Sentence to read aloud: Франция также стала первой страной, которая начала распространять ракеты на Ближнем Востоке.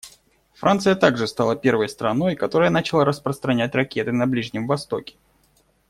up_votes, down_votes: 2, 0